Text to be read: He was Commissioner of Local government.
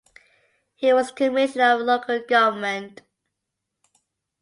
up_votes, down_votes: 2, 0